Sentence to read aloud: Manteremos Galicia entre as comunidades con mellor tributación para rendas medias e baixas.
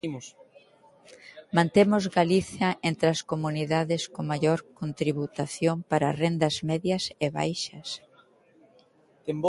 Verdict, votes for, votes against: rejected, 0, 2